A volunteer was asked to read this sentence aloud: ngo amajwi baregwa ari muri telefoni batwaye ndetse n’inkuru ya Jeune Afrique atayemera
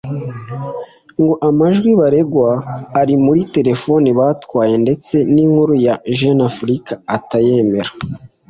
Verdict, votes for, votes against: accepted, 2, 0